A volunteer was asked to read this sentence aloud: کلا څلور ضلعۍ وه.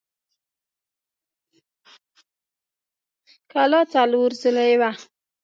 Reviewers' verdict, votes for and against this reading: rejected, 1, 2